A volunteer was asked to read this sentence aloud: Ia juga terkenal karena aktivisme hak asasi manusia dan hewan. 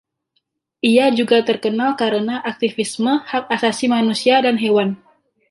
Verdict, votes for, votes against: rejected, 0, 2